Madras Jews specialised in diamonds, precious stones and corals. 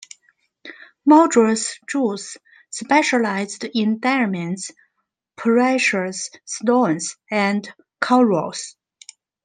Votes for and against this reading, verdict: 2, 1, accepted